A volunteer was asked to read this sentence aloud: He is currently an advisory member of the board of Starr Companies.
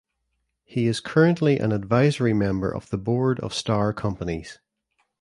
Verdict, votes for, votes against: accepted, 2, 0